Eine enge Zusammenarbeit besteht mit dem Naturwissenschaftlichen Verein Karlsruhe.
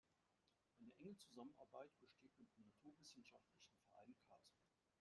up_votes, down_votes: 0, 2